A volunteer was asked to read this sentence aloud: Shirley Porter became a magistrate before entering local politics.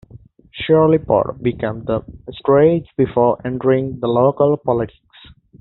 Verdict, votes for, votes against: rejected, 1, 2